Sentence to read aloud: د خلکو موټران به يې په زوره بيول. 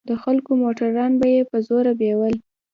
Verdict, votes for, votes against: accepted, 2, 0